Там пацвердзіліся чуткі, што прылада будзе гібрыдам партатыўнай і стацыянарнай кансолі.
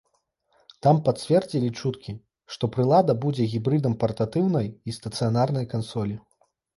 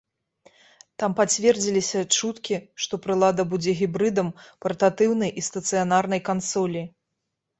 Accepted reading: second